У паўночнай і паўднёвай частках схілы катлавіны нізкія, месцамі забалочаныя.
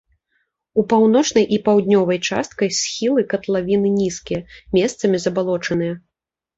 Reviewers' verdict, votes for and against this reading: rejected, 0, 2